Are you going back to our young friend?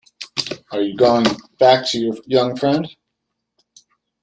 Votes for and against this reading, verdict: 0, 2, rejected